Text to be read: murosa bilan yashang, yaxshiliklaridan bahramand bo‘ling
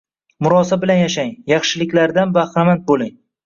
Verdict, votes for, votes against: rejected, 1, 2